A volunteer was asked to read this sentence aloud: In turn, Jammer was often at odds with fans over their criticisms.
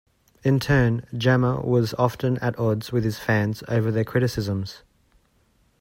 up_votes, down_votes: 1, 2